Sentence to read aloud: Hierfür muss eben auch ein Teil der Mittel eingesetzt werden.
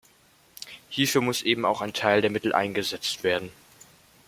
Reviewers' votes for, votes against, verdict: 1, 2, rejected